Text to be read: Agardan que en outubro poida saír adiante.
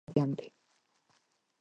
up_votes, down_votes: 0, 4